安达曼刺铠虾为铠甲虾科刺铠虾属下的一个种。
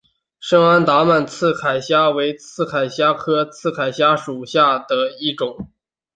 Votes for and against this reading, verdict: 0, 2, rejected